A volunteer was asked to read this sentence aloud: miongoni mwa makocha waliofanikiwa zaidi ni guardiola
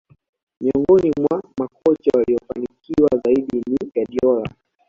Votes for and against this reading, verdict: 1, 2, rejected